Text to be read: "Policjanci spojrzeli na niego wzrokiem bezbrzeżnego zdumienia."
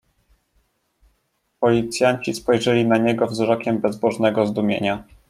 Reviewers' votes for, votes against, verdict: 1, 2, rejected